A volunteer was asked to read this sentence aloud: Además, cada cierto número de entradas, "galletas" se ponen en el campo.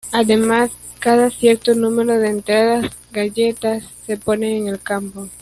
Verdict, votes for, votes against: rejected, 1, 2